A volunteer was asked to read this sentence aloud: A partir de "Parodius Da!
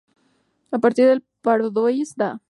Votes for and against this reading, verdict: 2, 4, rejected